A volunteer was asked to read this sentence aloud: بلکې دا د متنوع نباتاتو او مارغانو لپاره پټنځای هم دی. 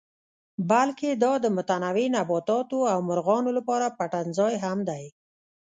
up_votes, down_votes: 0, 2